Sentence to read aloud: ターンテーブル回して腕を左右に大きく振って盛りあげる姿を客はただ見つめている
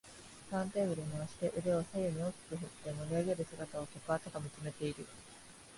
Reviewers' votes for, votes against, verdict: 2, 0, accepted